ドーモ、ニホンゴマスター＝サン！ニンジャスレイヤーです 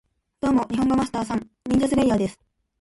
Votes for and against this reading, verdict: 2, 1, accepted